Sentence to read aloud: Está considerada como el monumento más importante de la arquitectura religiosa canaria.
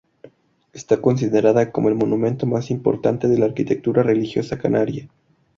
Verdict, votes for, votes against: accepted, 2, 0